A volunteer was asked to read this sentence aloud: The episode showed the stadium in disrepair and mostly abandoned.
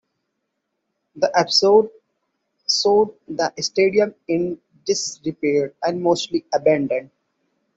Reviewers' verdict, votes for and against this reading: accepted, 2, 1